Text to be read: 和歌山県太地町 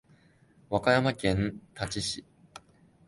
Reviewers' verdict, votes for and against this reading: rejected, 0, 2